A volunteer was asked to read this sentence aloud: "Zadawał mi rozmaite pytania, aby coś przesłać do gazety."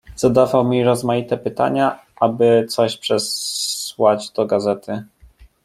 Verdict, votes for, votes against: rejected, 0, 2